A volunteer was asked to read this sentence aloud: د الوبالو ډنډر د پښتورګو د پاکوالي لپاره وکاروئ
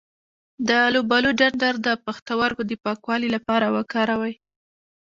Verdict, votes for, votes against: rejected, 1, 2